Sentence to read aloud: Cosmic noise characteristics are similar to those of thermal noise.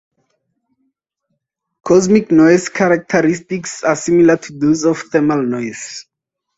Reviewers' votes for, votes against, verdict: 2, 2, rejected